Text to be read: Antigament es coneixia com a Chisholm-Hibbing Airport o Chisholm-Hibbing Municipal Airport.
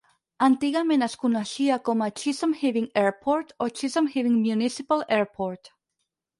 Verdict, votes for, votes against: rejected, 2, 4